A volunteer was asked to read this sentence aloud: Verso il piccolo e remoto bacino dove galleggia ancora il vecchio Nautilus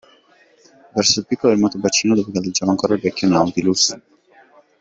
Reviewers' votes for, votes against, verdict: 1, 2, rejected